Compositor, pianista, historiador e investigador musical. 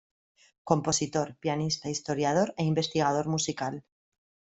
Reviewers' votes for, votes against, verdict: 2, 0, accepted